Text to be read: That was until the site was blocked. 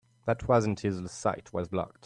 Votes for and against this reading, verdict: 1, 2, rejected